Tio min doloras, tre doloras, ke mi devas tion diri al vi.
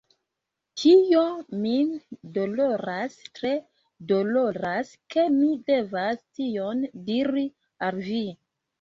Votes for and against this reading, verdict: 0, 2, rejected